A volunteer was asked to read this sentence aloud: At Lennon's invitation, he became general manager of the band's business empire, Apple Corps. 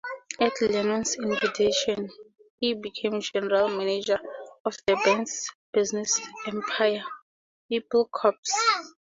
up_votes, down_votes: 2, 0